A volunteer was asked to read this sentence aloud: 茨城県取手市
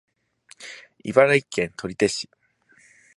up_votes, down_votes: 2, 0